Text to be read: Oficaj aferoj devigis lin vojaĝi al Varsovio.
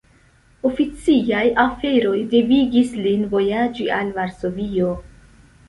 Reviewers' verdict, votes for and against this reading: rejected, 0, 2